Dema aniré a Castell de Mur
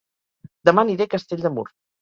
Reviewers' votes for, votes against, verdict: 4, 0, accepted